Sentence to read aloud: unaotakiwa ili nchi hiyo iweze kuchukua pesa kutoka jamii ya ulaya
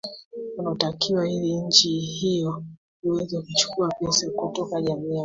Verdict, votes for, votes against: rejected, 0, 2